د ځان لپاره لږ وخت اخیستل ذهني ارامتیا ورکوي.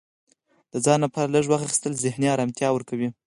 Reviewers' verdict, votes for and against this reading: accepted, 4, 2